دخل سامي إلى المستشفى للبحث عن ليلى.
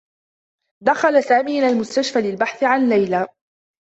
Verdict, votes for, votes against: accepted, 2, 0